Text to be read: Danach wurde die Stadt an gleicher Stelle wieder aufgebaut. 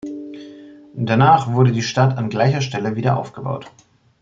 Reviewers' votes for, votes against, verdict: 2, 0, accepted